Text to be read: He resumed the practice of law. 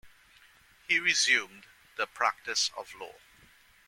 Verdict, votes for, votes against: accepted, 2, 0